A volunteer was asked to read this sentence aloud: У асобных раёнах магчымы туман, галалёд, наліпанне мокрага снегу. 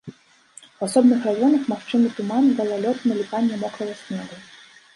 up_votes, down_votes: 1, 2